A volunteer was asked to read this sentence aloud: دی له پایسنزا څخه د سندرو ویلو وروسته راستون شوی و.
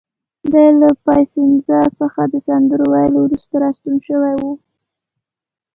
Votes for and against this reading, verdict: 2, 0, accepted